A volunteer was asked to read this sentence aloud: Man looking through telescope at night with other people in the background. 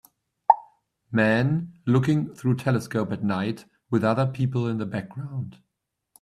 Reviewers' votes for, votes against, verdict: 1, 2, rejected